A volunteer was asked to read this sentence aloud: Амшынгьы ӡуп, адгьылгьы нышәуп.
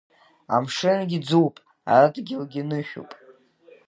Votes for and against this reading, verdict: 2, 1, accepted